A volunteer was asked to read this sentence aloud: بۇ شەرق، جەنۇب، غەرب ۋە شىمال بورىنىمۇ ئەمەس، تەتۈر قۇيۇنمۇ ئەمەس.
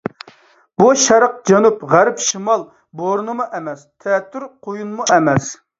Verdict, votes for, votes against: rejected, 1, 2